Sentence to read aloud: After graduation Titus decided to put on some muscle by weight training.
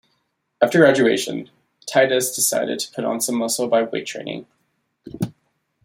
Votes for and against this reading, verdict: 2, 0, accepted